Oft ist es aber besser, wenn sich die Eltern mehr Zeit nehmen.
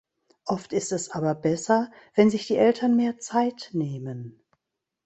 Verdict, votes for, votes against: accepted, 3, 0